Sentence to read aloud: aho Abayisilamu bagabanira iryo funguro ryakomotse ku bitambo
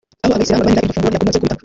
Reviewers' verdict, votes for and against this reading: rejected, 0, 2